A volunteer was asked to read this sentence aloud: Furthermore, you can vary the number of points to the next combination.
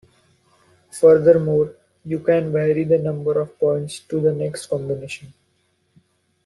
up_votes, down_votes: 2, 0